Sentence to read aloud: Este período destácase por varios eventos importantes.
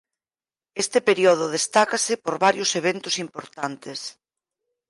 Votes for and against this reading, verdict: 0, 4, rejected